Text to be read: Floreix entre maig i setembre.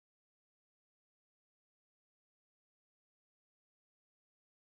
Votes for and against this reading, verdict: 0, 2, rejected